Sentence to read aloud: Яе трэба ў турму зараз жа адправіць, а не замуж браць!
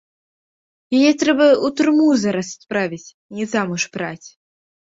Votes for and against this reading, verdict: 0, 2, rejected